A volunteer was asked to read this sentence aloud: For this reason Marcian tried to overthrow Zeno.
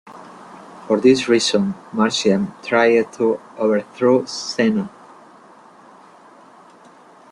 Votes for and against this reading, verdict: 2, 1, accepted